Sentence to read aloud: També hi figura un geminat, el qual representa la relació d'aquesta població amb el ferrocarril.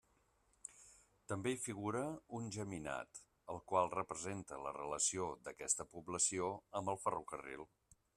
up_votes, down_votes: 2, 1